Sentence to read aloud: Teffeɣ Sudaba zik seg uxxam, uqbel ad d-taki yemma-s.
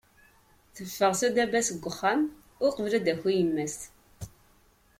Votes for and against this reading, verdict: 1, 2, rejected